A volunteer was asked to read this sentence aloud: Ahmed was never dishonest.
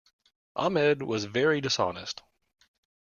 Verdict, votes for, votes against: rejected, 1, 2